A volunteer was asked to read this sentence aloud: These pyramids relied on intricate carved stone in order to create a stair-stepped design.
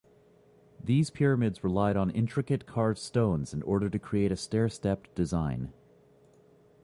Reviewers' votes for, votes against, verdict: 1, 2, rejected